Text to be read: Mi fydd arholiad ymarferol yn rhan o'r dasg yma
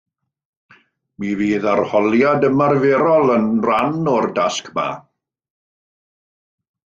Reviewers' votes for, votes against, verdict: 1, 2, rejected